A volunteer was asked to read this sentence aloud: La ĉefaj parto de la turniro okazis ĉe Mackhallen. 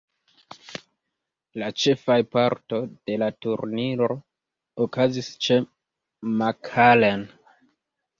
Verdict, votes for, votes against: rejected, 1, 2